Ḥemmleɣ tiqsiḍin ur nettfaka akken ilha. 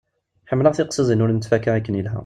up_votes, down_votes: 2, 0